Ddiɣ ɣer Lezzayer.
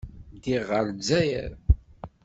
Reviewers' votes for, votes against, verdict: 2, 0, accepted